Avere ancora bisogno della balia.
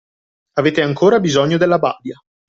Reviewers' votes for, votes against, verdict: 0, 2, rejected